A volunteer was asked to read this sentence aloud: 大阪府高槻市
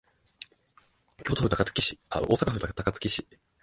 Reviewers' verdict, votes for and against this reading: rejected, 1, 2